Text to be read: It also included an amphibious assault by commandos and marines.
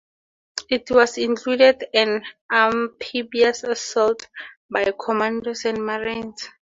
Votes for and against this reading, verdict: 0, 4, rejected